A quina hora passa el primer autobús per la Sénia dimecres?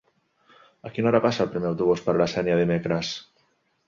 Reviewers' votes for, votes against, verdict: 2, 0, accepted